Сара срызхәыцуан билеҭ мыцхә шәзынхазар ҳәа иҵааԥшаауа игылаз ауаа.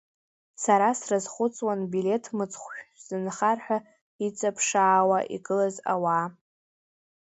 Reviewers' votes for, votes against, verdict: 0, 3, rejected